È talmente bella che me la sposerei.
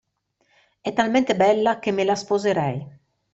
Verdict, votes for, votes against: accepted, 2, 0